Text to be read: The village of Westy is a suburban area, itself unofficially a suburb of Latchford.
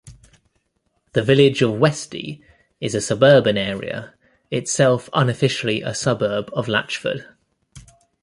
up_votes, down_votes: 2, 1